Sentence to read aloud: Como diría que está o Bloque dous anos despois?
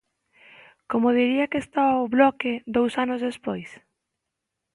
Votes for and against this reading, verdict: 3, 0, accepted